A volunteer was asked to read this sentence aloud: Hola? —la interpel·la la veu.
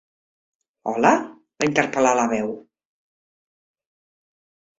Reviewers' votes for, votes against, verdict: 0, 2, rejected